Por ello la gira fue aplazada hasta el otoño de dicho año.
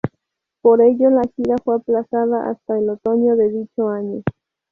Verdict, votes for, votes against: rejected, 2, 2